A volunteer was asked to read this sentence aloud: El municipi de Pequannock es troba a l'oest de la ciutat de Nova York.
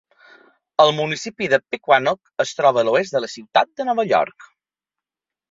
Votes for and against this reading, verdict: 2, 0, accepted